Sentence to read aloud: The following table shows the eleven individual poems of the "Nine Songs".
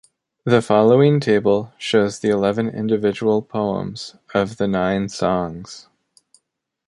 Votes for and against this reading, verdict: 2, 0, accepted